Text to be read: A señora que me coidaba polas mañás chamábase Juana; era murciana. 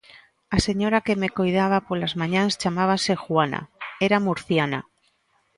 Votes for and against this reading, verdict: 2, 0, accepted